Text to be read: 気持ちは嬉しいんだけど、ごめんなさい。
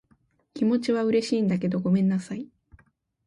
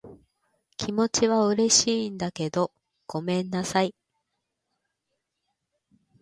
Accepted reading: second